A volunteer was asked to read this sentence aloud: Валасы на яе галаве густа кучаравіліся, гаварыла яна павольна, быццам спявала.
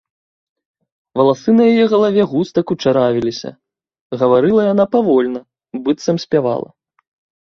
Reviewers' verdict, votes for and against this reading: accepted, 2, 0